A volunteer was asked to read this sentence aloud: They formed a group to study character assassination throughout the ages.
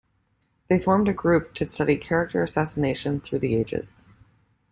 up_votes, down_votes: 1, 2